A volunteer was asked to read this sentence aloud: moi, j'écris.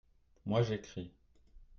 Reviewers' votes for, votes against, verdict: 0, 2, rejected